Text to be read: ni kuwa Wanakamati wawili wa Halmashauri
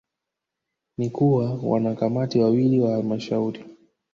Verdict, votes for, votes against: rejected, 1, 2